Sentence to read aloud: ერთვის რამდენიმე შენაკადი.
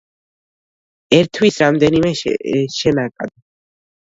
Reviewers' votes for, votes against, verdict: 0, 2, rejected